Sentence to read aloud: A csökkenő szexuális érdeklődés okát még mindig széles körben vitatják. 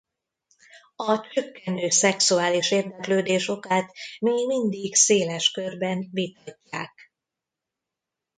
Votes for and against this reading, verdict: 1, 2, rejected